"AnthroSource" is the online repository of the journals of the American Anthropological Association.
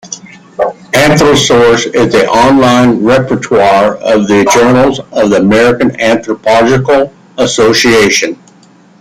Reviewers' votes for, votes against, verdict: 0, 2, rejected